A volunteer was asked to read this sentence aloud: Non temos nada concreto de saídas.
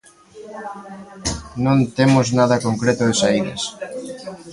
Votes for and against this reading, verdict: 2, 4, rejected